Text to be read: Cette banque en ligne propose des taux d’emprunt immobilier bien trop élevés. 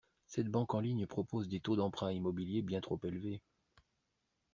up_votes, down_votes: 2, 0